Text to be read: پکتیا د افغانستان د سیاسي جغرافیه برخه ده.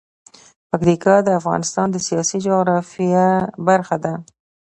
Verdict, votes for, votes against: accepted, 2, 0